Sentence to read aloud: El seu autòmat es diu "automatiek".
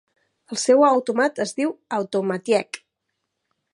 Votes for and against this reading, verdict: 0, 2, rejected